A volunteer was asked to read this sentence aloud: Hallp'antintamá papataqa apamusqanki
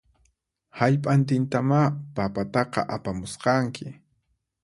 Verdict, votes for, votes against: accepted, 4, 0